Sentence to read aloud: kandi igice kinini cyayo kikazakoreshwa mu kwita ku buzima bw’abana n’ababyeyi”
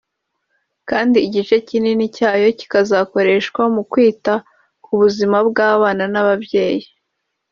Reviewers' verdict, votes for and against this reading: rejected, 1, 2